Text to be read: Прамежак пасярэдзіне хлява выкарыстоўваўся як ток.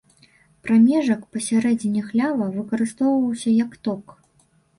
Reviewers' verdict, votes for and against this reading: rejected, 1, 2